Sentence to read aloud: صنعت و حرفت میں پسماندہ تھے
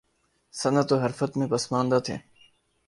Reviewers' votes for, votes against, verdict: 2, 0, accepted